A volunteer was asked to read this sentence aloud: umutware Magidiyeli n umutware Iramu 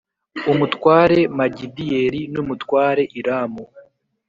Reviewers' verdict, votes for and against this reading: accepted, 2, 0